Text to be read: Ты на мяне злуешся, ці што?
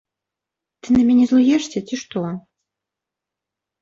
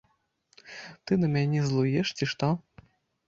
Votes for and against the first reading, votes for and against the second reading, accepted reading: 2, 0, 0, 2, first